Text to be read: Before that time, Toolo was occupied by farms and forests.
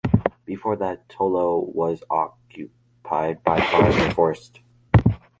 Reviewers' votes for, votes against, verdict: 0, 3, rejected